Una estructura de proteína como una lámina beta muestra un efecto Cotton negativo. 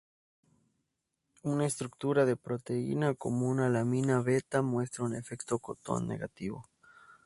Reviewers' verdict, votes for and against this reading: rejected, 0, 2